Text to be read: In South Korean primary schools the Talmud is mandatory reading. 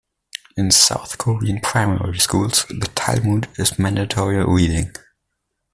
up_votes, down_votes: 1, 2